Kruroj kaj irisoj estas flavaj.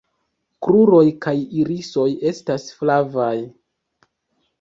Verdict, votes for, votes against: rejected, 1, 2